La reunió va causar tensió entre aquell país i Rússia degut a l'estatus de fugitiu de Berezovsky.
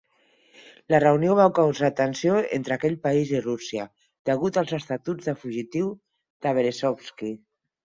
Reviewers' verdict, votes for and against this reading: rejected, 0, 4